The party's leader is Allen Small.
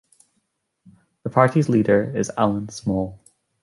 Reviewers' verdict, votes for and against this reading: accepted, 2, 0